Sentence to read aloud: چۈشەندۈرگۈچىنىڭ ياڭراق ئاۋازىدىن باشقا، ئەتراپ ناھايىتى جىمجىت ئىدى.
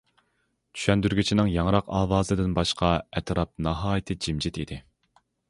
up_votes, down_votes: 2, 0